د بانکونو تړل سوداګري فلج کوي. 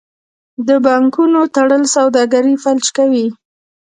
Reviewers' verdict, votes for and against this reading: rejected, 1, 2